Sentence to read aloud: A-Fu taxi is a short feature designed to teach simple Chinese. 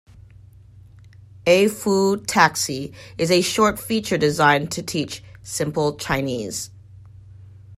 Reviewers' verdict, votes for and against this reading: accepted, 2, 0